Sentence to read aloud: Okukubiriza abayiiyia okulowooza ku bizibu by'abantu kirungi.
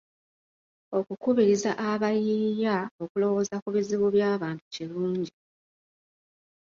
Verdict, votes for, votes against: accepted, 2, 0